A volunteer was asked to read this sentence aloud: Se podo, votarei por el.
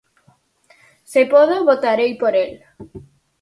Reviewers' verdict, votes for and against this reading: accepted, 4, 0